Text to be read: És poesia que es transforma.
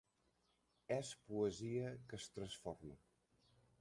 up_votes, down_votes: 3, 1